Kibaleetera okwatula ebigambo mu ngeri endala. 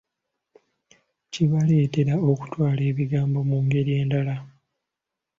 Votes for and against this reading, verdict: 0, 2, rejected